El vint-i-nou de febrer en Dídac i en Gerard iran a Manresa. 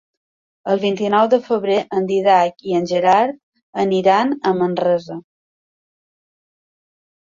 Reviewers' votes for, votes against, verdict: 0, 2, rejected